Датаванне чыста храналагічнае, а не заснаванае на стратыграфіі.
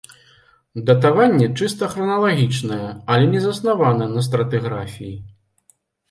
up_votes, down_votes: 0, 2